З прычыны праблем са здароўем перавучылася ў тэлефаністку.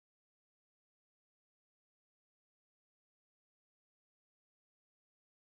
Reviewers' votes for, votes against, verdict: 0, 2, rejected